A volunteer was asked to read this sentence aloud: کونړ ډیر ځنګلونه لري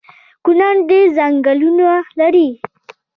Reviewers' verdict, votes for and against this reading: rejected, 1, 2